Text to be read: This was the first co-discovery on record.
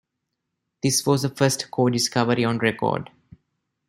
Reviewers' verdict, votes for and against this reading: accepted, 2, 1